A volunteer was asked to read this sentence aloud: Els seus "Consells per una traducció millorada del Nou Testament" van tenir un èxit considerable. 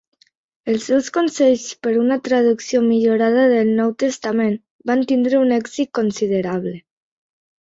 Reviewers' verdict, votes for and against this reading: rejected, 1, 2